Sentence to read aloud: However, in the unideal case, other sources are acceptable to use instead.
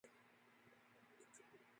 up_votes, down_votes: 0, 2